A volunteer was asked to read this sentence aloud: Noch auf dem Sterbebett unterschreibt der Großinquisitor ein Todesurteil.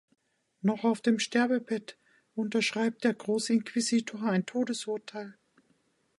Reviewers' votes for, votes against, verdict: 2, 0, accepted